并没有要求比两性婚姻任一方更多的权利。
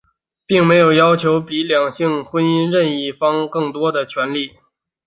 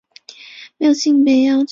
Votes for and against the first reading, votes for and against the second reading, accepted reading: 2, 0, 0, 2, first